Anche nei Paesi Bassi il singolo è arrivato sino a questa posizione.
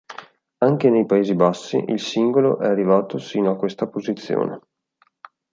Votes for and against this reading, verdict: 2, 1, accepted